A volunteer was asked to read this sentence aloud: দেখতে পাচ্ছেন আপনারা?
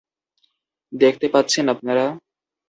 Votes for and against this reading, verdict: 2, 0, accepted